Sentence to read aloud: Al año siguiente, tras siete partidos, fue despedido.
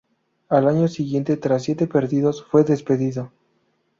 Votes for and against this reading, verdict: 2, 2, rejected